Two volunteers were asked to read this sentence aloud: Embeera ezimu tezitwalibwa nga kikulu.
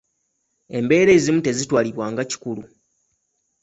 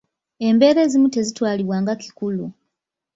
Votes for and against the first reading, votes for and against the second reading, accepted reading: 2, 0, 1, 2, first